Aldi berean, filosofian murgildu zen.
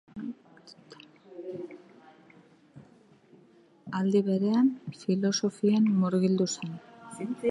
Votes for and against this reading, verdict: 0, 2, rejected